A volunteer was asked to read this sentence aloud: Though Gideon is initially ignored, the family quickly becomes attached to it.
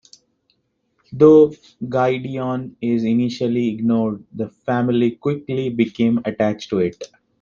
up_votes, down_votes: 0, 2